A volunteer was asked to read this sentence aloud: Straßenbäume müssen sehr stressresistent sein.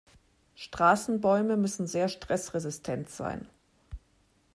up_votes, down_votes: 2, 0